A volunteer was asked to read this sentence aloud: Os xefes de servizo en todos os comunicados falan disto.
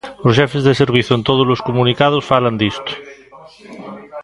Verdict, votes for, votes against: rejected, 0, 2